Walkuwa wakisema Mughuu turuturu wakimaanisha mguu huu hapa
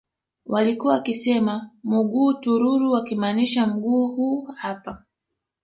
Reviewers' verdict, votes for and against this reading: accepted, 2, 0